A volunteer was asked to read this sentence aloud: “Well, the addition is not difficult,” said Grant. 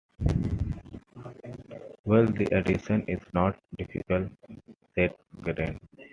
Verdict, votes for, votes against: rejected, 1, 2